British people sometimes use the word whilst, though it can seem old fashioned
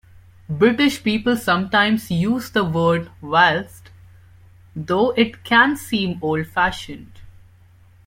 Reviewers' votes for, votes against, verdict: 2, 0, accepted